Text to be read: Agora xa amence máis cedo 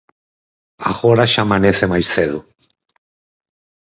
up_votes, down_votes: 0, 4